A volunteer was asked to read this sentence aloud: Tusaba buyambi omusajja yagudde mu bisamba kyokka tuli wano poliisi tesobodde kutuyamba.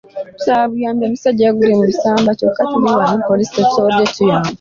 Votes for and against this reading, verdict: 1, 2, rejected